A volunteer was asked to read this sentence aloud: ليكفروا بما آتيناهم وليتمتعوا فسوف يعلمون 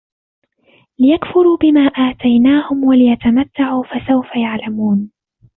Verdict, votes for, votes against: rejected, 0, 2